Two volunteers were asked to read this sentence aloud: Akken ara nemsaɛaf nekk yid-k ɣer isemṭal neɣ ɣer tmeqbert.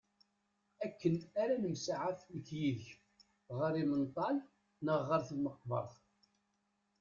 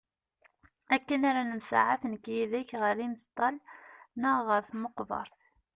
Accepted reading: second